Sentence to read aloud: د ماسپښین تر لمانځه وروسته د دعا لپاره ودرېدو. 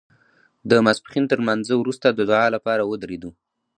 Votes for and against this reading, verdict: 2, 0, accepted